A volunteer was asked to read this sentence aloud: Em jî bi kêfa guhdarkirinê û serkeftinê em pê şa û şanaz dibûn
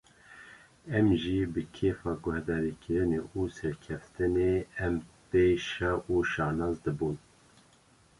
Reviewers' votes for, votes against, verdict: 2, 0, accepted